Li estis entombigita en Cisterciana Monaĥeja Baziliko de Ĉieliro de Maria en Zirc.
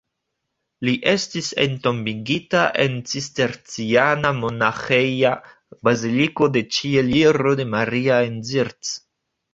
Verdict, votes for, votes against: accepted, 2, 0